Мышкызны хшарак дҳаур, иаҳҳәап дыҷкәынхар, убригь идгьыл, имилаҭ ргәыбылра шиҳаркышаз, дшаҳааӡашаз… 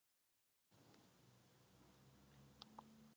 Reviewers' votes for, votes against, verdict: 1, 3, rejected